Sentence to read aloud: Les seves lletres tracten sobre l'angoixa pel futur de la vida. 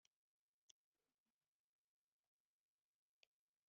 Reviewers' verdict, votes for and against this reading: rejected, 0, 2